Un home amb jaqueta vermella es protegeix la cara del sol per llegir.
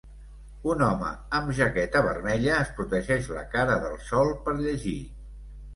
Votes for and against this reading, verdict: 2, 0, accepted